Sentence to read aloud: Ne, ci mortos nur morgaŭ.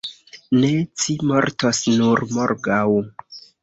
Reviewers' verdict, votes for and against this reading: accepted, 2, 0